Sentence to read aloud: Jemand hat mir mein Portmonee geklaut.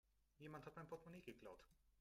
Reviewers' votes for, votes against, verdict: 0, 3, rejected